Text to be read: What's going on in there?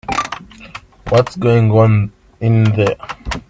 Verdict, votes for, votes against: rejected, 0, 2